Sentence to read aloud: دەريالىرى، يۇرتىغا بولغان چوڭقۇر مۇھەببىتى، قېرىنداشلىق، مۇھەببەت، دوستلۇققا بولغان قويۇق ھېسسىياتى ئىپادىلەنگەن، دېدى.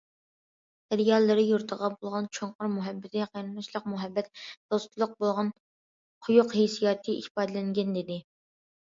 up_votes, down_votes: 1, 2